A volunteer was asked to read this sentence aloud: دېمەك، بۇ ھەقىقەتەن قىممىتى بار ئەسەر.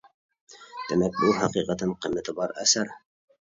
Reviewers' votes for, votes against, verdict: 2, 0, accepted